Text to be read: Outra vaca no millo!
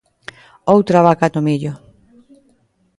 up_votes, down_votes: 2, 0